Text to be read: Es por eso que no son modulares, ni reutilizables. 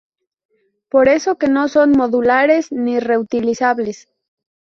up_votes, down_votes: 0, 2